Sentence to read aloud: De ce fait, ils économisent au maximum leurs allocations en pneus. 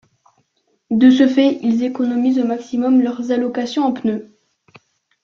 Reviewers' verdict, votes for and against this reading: accepted, 2, 0